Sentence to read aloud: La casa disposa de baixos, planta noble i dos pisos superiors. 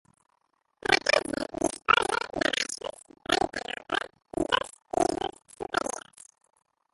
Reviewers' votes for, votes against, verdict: 0, 4, rejected